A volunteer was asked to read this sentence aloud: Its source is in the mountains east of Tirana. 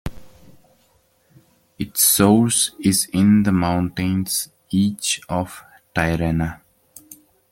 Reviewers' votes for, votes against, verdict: 1, 2, rejected